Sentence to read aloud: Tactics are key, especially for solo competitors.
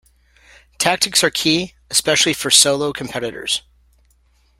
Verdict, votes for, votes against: accepted, 2, 0